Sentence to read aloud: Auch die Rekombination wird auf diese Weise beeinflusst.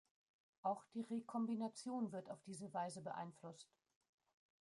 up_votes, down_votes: 1, 2